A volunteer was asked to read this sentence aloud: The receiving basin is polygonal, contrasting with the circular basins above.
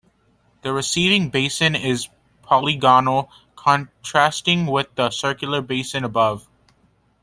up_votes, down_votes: 2, 1